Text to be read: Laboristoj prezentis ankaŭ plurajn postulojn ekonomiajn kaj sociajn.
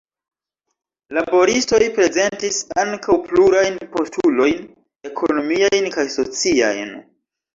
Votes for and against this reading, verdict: 2, 1, accepted